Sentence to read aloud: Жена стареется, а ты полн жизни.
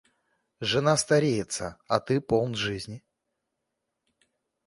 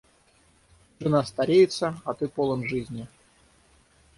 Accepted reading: first